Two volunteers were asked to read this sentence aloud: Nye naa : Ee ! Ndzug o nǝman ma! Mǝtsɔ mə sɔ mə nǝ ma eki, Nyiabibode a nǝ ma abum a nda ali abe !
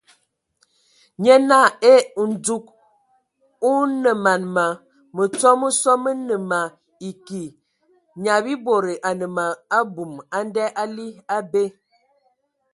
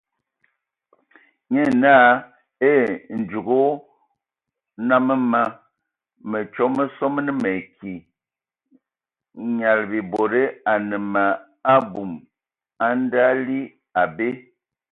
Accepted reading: first